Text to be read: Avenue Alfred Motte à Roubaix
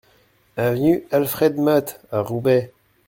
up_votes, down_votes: 2, 0